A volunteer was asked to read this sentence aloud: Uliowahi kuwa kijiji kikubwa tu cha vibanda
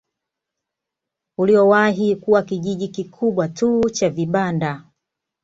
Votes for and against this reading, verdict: 2, 0, accepted